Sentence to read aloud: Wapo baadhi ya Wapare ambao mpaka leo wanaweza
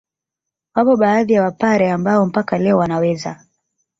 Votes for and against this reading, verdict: 3, 1, accepted